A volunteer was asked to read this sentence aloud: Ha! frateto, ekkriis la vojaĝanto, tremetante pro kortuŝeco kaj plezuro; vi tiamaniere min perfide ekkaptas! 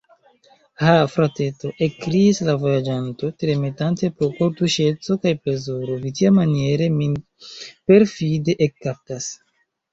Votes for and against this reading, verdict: 1, 2, rejected